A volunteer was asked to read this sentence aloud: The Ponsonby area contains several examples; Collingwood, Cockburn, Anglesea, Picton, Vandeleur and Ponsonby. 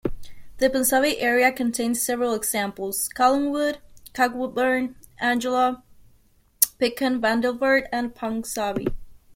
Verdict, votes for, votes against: rejected, 1, 2